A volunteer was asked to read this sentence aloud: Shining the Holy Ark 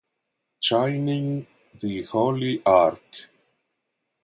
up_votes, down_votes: 1, 2